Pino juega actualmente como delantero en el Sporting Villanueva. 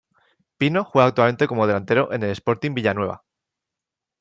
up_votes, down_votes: 2, 0